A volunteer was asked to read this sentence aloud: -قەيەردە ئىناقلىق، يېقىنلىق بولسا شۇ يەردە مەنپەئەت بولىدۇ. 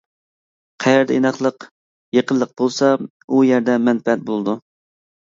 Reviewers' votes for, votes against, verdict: 1, 2, rejected